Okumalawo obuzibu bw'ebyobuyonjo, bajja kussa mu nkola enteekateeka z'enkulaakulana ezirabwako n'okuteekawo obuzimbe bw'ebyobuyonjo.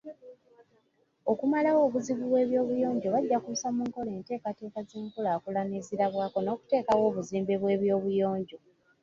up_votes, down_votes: 2, 1